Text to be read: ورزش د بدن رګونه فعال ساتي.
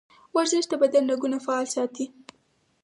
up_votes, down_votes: 0, 4